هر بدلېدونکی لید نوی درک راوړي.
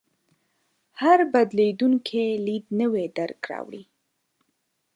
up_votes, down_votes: 2, 0